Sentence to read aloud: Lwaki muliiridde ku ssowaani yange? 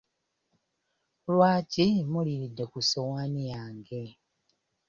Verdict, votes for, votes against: rejected, 0, 2